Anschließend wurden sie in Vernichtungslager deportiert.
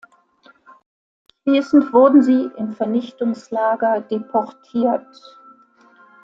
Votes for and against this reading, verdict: 0, 2, rejected